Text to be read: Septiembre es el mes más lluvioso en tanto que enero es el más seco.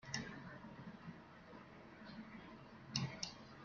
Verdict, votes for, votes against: rejected, 0, 2